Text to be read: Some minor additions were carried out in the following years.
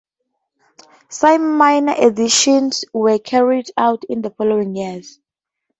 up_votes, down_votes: 2, 2